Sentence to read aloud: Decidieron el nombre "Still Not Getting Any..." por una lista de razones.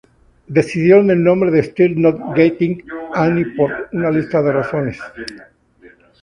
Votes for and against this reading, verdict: 0, 2, rejected